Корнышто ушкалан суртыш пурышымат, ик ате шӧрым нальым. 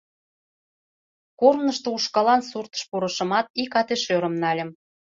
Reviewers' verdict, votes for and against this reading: accepted, 2, 0